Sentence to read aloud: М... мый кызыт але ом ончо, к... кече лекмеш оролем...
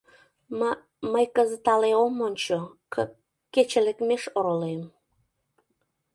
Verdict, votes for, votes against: accepted, 2, 0